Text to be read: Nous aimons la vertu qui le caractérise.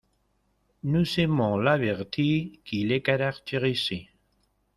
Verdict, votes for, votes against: rejected, 0, 2